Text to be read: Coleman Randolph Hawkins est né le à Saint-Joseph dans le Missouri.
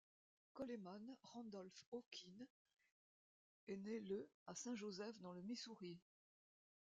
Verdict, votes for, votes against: rejected, 1, 2